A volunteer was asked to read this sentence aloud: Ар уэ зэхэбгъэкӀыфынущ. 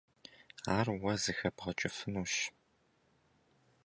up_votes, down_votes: 2, 0